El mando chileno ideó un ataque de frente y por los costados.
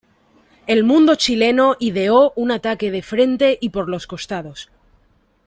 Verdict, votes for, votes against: rejected, 1, 2